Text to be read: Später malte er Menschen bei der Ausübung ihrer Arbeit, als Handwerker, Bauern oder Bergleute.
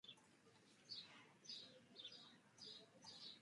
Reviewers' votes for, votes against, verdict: 0, 2, rejected